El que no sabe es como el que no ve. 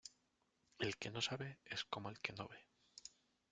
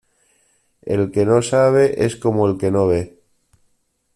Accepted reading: second